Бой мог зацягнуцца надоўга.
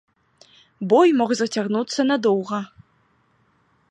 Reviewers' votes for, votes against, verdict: 2, 0, accepted